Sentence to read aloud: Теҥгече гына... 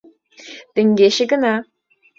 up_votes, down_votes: 2, 0